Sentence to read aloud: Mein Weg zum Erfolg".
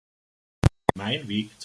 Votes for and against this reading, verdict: 0, 3, rejected